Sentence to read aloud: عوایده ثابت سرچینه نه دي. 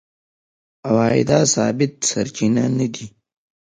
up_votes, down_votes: 2, 0